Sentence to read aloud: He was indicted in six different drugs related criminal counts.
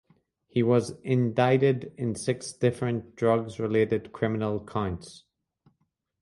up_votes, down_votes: 0, 2